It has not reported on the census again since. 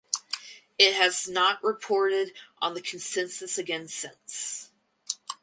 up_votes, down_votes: 2, 2